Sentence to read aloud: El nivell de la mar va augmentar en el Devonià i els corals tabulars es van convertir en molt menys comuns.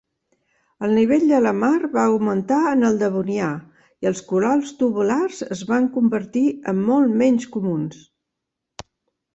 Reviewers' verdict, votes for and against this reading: rejected, 0, 2